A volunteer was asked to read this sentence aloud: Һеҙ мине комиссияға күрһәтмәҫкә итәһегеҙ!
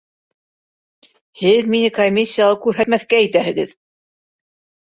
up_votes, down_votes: 3, 0